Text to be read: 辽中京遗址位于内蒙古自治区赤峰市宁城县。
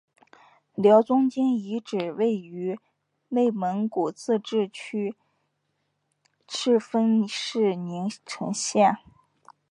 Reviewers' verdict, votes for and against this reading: accepted, 4, 2